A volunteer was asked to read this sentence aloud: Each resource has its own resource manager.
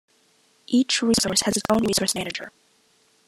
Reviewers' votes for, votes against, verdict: 0, 2, rejected